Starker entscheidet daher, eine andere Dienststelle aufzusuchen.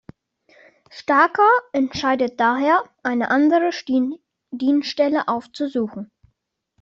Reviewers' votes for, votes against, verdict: 1, 2, rejected